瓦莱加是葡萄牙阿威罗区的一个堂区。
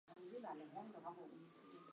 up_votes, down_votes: 1, 2